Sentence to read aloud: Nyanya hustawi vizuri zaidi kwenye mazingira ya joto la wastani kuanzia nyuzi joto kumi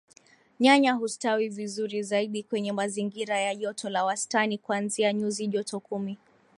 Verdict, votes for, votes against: accepted, 2, 1